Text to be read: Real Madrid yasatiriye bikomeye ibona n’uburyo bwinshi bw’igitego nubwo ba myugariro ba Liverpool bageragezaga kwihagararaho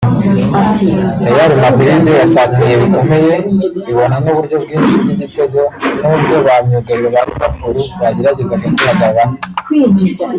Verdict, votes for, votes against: rejected, 0, 2